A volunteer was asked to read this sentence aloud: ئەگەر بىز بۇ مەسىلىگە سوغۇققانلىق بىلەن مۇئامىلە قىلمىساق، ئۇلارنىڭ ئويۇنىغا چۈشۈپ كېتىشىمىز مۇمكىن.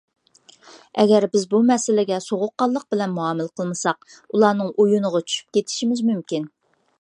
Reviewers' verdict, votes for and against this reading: accepted, 2, 0